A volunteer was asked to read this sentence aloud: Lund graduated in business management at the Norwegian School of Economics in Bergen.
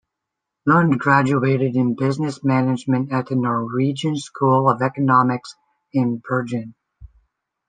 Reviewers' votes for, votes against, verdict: 1, 2, rejected